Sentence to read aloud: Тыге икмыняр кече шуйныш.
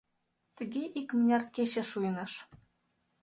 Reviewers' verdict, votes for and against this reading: accepted, 2, 0